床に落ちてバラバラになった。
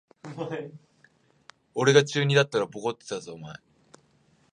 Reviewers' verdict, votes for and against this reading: rejected, 0, 2